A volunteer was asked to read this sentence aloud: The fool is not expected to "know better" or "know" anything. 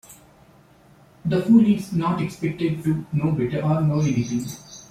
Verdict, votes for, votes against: accepted, 2, 0